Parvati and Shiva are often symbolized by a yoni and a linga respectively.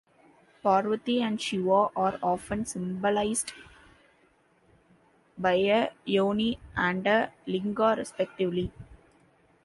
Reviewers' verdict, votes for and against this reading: accepted, 2, 0